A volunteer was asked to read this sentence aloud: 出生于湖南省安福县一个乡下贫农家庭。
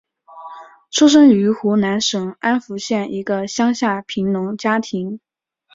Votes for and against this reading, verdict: 2, 0, accepted